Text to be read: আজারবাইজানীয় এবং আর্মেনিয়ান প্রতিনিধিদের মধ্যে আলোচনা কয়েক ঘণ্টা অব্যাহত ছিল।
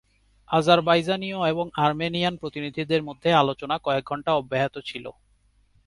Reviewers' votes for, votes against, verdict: 2, 0, accepted